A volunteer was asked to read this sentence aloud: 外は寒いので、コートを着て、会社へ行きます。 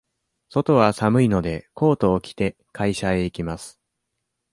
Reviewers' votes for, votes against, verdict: 2, 0, accepted